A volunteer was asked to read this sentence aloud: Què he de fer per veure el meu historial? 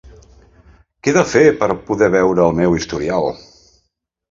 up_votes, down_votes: 0, 2